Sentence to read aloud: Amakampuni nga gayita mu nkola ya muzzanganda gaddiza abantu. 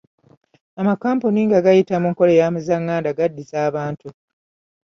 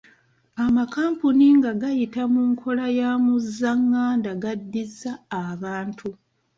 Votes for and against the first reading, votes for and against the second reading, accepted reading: 2, 1, 1, 2, first